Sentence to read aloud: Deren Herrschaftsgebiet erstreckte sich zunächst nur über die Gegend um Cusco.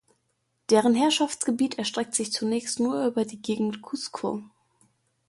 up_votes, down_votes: 1, 2